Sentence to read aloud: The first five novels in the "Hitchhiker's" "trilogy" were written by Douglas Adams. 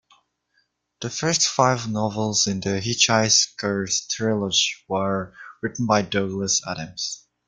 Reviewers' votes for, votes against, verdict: 0, 2, rejected